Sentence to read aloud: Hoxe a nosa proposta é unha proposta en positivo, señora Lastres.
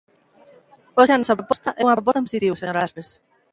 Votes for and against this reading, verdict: 0, 2, rejected